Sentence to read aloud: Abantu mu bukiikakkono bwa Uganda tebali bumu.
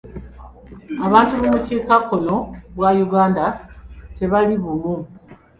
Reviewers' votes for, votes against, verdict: 2, 0, accepted